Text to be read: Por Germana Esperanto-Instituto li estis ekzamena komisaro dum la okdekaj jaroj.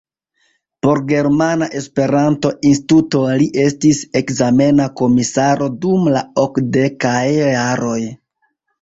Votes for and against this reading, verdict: 0, 2, rejected